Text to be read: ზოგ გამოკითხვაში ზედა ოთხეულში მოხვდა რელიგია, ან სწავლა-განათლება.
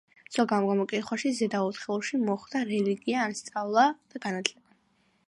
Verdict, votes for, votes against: accepted, 2, 1